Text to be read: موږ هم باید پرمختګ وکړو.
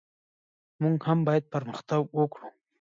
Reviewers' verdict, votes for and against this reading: rejected, 0, 2